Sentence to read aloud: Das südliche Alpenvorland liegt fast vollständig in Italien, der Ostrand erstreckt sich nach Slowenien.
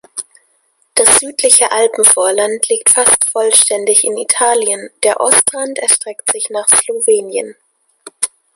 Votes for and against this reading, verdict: 2, 0, accepted